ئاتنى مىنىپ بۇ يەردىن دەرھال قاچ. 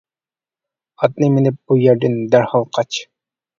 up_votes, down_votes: 2, 0